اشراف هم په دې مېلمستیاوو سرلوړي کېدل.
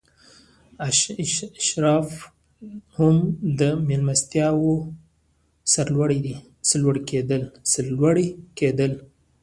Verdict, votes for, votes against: rejected, 1, 2